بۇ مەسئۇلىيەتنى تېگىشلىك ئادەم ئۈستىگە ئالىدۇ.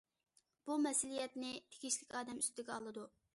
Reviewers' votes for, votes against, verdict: 2, 0, accepted